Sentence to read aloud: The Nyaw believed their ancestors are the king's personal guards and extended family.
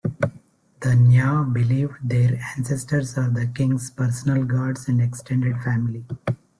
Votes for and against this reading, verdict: 2, 0, accepted